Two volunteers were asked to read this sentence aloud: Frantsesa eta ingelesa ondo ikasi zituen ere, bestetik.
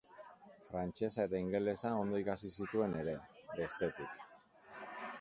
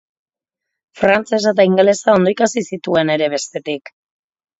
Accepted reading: second